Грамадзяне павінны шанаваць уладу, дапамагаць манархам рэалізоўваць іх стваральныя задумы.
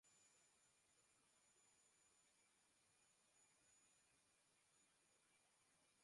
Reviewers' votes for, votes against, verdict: 0, 2, rejected